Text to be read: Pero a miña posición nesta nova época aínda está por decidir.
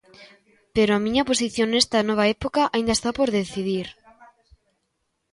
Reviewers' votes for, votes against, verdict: 1, 2, rejected